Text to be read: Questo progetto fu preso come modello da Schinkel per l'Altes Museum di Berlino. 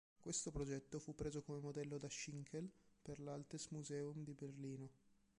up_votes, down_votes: 1, 2